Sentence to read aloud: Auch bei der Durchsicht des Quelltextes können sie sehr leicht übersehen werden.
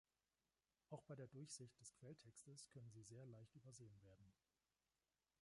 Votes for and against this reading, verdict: 2, 1, accepted